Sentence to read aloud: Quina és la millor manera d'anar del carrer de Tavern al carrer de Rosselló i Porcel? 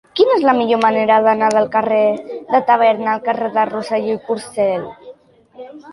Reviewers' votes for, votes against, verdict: 2, 1, accepted